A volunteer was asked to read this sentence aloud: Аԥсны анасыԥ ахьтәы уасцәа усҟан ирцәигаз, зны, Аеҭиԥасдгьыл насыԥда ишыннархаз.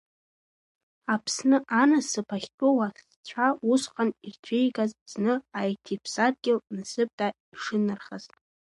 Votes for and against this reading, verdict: 0, 2, rejected